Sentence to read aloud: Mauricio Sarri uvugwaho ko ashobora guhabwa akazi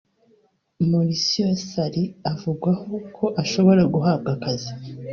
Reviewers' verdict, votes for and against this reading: rejected, 1, 2